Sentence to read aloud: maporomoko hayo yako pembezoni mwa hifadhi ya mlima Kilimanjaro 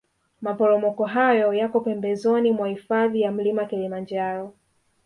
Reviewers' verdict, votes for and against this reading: accepted, 2, 1